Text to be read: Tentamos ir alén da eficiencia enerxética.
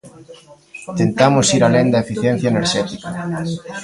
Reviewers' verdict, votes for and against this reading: rejected, 0, 2